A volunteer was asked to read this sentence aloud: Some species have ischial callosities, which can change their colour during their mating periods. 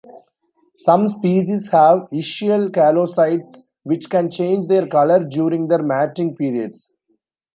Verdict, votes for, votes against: rejected, 0, 2